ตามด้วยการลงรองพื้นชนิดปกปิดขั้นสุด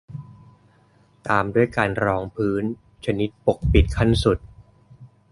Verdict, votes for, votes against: rejected, 0, 2